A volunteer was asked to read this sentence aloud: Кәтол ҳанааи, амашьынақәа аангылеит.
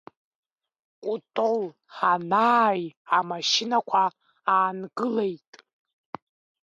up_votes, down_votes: 1, 2